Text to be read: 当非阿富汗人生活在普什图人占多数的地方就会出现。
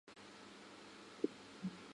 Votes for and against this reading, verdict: 0, 4, rejected